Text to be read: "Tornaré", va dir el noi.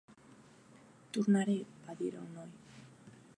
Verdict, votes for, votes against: rejected, 0, 2